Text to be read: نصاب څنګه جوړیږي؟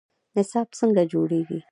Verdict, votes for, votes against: rejected, 1, 2